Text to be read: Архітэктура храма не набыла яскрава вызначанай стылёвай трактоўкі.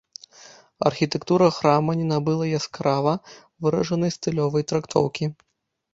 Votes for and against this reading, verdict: 0, 2, rejected